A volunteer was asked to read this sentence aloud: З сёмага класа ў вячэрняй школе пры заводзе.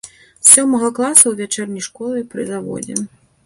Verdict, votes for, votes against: rejected, 1, 2